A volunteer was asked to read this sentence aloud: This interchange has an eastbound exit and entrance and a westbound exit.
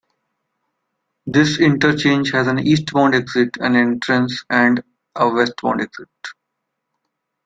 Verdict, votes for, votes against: accepted, 2, 0